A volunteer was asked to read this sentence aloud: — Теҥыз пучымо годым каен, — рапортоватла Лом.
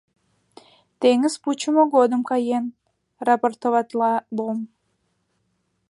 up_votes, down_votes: 2, 0